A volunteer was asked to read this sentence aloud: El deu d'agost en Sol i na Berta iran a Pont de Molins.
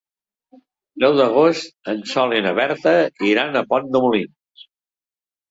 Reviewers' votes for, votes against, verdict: 1, 4, rejected